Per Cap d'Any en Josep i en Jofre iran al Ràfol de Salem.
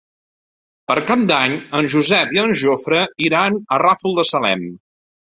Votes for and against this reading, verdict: 1, 2, rejected